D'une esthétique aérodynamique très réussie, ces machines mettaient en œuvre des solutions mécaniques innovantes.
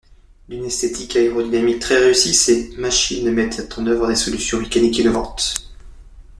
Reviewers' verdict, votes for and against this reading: rejected, 1, 2